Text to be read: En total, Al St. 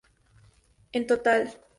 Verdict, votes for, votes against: rejected, 0, 2